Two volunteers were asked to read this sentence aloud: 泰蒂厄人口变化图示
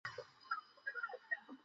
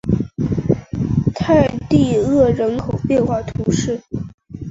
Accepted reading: second